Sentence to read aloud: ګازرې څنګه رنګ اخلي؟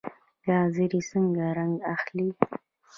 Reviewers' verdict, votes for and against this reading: rejected, 1, 2